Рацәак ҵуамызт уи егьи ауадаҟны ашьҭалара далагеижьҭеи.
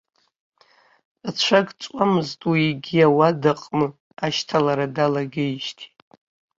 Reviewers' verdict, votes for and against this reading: rejected, 1, 2